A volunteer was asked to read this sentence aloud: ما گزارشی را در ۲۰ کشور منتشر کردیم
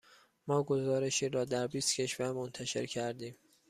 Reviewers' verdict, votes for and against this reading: rejected, 0, 2